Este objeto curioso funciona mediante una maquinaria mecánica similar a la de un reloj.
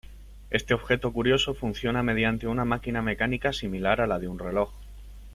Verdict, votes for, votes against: rejected, 0, 2